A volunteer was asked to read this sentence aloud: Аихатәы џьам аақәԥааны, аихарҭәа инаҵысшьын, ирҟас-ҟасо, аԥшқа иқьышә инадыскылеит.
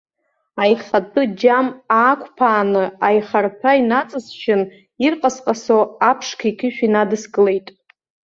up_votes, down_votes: 2, 0